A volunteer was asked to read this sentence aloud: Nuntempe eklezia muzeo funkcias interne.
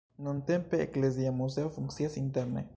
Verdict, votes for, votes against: accepted, 2, 0